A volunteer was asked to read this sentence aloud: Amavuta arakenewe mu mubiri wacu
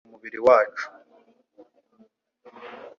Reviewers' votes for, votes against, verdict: 1, 2, rejected